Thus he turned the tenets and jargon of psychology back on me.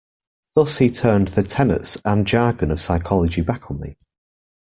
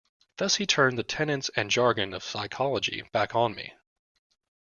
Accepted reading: first